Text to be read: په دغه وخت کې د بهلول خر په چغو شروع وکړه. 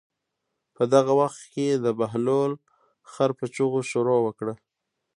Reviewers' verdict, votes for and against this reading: accepted, 2, 1